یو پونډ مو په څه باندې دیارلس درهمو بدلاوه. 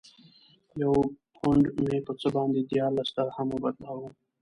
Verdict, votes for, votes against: rejected, 1, 2